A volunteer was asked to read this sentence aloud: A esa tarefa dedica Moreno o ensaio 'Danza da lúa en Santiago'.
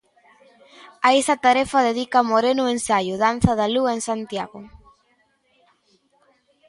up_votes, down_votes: 2, 0